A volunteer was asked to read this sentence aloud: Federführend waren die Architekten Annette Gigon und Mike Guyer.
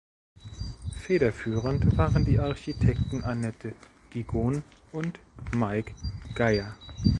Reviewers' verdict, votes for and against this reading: rejected, 1, 2